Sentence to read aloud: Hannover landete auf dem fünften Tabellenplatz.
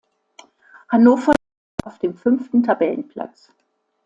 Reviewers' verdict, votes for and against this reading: rejected, 0, 2